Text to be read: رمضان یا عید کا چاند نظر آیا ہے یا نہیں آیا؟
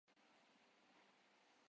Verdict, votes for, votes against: rejected, 0, 5